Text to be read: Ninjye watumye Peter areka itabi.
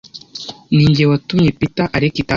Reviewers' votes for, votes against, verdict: 1, 2, rejected